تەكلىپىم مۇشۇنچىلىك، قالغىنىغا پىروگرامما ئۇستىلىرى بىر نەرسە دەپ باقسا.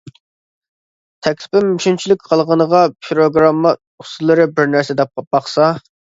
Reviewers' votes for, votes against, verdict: 1, 2, rejected